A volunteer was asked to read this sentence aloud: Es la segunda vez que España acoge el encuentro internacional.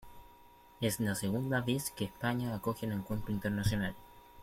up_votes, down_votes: 2, 1